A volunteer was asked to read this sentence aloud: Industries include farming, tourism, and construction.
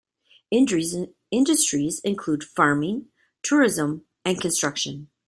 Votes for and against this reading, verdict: 1, 2, rejected